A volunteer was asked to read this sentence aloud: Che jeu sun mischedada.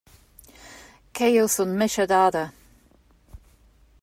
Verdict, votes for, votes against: rejected, 0, 2